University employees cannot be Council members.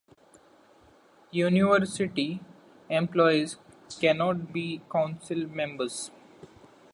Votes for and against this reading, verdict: 2, 0, accepted